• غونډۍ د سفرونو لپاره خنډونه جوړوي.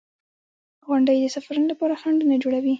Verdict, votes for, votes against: rejected, 0, 2